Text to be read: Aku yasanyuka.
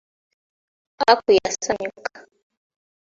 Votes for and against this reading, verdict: 2, 0, accepted